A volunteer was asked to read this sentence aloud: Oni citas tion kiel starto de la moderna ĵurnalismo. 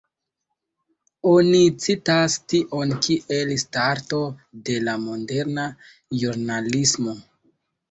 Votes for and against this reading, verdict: 1, 2, rejected